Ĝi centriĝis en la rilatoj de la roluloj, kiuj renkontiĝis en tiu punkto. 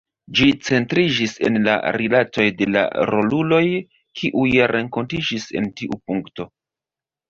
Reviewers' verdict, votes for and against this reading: accepted, 2, 0